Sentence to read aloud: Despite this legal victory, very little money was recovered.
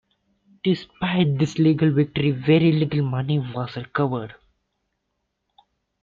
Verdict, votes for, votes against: accepted, 2, 0